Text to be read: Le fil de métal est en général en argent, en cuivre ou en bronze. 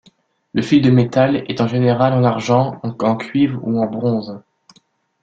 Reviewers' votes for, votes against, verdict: 1, 2, rejected